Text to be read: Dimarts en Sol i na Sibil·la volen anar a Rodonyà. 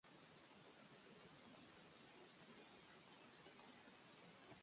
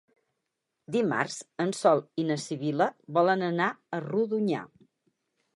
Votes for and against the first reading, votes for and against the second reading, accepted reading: 1, 2, 12, 0, second